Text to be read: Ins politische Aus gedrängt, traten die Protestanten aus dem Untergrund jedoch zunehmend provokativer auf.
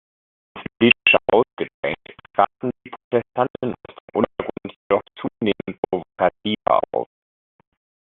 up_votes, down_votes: 0, 2